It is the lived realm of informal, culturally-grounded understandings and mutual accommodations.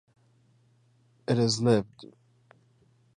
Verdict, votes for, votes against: rejected, 0, 2